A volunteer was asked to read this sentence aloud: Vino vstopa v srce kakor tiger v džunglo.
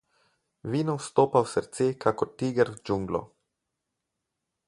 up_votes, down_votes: 4, 0